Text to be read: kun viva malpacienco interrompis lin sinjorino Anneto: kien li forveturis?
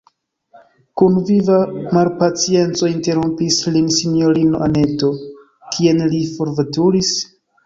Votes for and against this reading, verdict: 0, 2, rejected